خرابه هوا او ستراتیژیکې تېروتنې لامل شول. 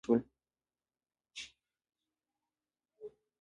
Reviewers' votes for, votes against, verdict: 2, 0, accepted